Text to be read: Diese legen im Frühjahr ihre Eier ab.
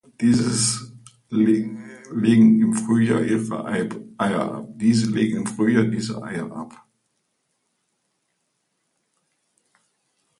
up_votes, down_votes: 0, 2